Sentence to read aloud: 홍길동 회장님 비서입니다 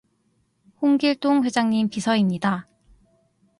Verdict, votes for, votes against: accepted, 2, 0